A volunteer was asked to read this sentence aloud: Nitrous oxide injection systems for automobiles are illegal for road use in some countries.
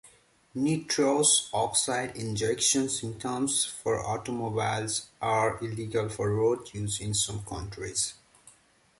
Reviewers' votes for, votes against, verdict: 2, 1, accepted